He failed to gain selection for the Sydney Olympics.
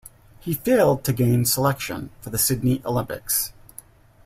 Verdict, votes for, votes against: accepted, 2, 0